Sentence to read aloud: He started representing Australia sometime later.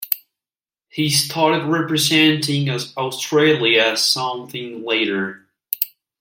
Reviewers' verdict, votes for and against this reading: rejected, 0, 2